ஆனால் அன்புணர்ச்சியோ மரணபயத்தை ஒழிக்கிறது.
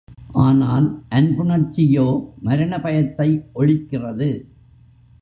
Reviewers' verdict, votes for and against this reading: accepted, 2, 0